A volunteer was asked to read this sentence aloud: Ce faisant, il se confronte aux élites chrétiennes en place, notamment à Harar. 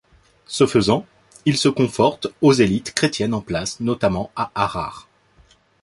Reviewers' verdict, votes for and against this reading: rejected, 0, 2